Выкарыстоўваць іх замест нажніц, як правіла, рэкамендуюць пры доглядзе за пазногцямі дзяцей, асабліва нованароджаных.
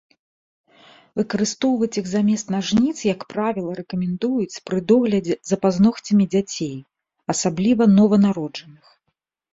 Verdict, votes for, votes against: accepted, 2, 0